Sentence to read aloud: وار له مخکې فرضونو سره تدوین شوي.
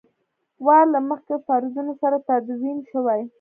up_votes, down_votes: 0, 2